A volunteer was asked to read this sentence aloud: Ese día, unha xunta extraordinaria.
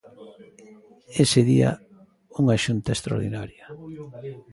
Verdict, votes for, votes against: accepted, 2, 1